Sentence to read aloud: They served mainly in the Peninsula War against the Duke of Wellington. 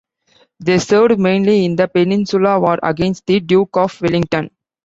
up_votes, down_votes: 2, 0